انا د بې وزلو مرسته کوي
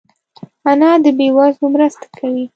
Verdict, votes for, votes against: accepted, 2, 0